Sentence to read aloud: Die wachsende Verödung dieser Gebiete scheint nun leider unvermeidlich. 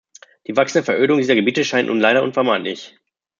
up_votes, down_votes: 2, 0